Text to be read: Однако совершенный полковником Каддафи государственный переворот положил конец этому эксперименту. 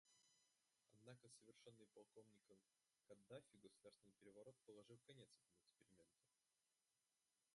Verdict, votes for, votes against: rejected, 0, 2